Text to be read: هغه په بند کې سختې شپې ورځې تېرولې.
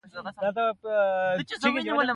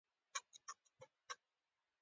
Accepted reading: second